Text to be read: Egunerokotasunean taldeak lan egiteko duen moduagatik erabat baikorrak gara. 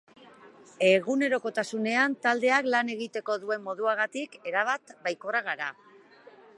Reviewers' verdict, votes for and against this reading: accepted, 3, 0